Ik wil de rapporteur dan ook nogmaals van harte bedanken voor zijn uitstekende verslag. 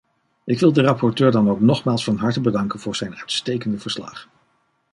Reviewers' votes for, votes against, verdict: 2, 0, accepted